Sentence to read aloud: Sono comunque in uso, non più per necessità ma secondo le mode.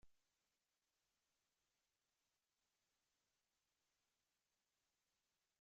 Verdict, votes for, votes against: rejected, 0, 2